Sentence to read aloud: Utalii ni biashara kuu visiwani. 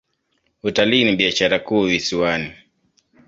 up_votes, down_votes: 2, 0